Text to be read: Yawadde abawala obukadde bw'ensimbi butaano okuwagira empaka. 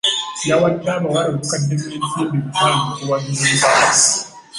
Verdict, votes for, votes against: rejected, 1, 3